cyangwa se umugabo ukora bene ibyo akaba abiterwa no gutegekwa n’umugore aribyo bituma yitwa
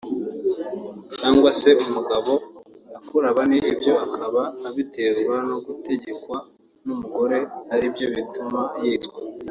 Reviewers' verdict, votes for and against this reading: rejected, 0, 2